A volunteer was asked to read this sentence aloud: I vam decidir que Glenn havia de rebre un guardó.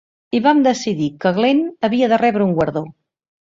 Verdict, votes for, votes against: accepted, 6, 0